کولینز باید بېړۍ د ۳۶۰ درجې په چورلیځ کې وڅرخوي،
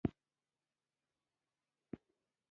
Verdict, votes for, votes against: rejected, 0, 2